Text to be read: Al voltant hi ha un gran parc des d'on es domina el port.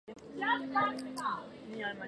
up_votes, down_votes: 0, 4